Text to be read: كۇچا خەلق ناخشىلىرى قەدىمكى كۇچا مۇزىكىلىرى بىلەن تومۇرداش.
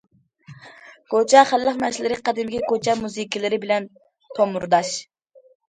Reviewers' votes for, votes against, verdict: 0, 2, rejected